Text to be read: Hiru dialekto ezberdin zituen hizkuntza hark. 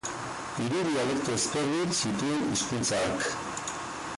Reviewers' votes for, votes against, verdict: 0, 4, rejected